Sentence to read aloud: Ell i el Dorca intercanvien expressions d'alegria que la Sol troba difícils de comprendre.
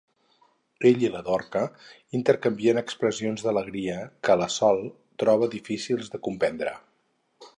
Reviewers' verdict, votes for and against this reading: rejected, 2, 4